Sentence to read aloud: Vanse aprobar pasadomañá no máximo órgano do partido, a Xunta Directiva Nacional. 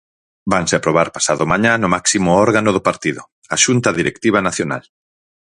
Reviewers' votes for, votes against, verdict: 4, 0, accepted